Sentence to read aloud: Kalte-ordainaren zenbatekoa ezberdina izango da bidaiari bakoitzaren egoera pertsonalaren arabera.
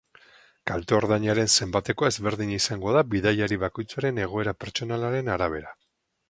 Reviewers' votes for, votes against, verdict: 4, 0, accepted